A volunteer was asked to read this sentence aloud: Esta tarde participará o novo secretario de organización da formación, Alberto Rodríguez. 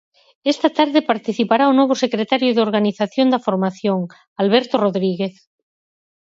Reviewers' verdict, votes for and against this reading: accepted, 4, 0